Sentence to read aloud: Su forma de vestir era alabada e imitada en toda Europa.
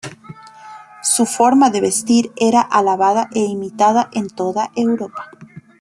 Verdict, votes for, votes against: accepted, 2, 0